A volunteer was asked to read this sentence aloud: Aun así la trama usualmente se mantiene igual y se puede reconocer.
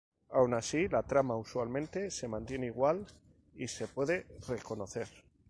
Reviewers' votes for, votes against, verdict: 2, 0, accepted